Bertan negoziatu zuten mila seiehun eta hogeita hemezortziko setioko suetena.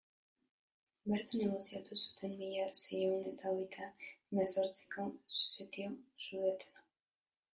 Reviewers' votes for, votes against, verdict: 0, 2, rejected